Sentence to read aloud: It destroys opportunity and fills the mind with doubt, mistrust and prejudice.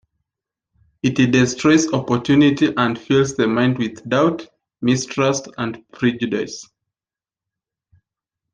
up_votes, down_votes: 2, 1